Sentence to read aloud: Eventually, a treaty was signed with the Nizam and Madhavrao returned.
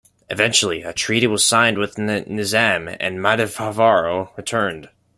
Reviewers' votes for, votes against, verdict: 1, 2, rejected